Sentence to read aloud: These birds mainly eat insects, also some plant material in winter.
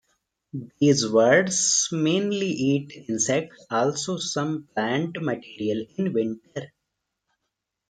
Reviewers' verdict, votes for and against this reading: rejected, 0, 2